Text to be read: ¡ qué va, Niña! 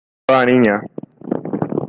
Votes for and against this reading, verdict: 0, 2, rejected